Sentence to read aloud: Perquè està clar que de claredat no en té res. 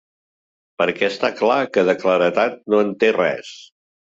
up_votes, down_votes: 3, 1